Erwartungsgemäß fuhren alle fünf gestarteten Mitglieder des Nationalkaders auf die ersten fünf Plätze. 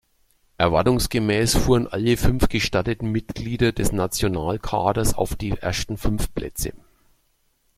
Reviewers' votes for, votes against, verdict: 2, 0, accepted